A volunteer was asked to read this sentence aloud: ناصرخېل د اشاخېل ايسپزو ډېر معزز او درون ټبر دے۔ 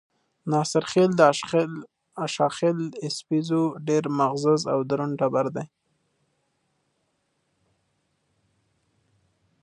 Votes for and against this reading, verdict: 2, 0, accepted